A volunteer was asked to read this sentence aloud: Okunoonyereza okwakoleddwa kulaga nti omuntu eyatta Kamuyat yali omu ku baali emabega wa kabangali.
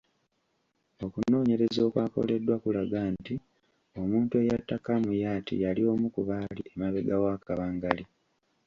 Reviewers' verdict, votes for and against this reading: accepted, 2, 0